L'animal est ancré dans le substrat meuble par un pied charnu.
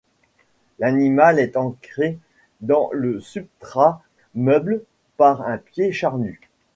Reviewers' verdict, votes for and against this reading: rejected, 0, 2